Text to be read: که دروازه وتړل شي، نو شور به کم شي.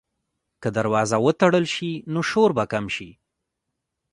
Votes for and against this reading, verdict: 0, 2, rejected